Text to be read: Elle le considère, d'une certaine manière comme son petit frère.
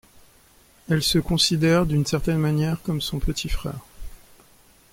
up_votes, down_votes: 0, 2